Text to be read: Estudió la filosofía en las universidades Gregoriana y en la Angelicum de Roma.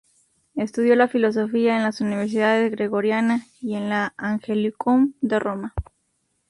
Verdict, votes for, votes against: rejected, 0, 2